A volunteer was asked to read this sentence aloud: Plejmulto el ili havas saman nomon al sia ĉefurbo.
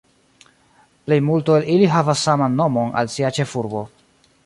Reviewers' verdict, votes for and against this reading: rejected, 0, 2